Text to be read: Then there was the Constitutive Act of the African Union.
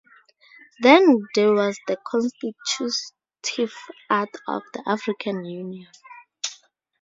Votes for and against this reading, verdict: 0, 2, rejected